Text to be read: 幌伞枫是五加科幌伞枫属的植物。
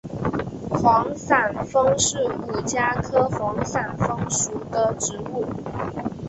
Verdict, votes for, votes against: accepted, 10, 1